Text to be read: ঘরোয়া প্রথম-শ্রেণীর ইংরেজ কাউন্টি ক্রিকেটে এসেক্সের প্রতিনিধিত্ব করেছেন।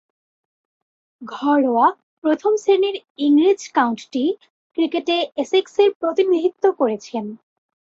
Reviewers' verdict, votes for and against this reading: accepted, 2, 0